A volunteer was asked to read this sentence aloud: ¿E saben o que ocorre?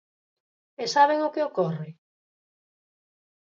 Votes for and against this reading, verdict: 4, 0, accepted